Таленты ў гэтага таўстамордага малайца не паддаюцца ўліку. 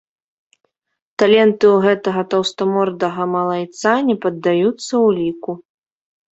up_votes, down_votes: 1, 2